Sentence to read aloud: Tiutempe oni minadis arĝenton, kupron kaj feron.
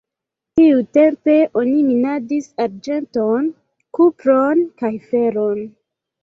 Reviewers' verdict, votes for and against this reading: rejected, 0, 2